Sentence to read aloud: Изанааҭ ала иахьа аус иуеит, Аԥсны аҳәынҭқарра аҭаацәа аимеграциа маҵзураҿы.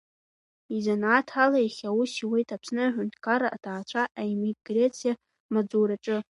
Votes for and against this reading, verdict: 0, 2, rejected